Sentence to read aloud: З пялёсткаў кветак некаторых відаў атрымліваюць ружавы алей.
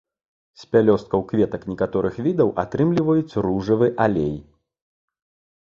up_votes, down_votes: 2, 0